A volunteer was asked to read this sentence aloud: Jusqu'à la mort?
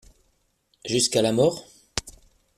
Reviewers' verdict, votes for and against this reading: accepted, 2, 0